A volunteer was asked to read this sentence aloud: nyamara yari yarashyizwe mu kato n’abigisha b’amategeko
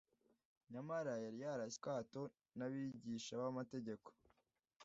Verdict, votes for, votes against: rejected, 1, 2